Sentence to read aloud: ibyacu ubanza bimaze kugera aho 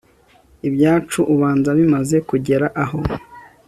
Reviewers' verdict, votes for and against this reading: accepted, 2, 0